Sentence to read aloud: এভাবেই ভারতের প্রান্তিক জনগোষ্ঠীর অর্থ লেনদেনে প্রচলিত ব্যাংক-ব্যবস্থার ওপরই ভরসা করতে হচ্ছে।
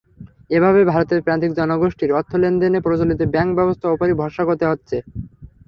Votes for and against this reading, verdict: 3, 0, accepted